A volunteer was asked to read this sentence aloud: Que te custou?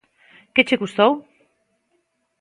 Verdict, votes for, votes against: rejected, 0, 2